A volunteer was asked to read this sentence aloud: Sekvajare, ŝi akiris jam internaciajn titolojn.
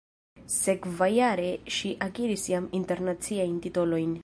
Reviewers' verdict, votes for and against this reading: rejected, 0, 2